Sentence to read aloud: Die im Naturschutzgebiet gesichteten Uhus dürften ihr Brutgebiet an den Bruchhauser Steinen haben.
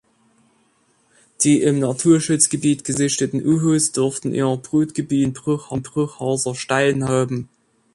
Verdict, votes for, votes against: rejected, 0, 2